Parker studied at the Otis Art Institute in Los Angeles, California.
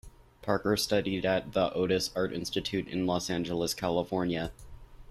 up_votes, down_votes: 2, 1